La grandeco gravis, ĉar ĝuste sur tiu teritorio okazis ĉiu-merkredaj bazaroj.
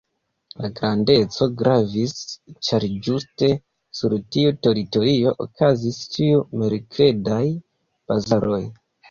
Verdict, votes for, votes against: accepted, 2, 0